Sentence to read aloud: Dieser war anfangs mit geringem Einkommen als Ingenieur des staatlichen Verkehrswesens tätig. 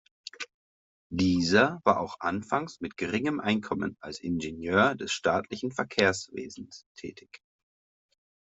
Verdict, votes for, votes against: rejected, 0, 2